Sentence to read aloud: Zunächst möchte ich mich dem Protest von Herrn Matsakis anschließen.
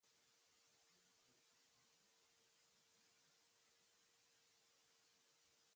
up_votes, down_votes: 0, 2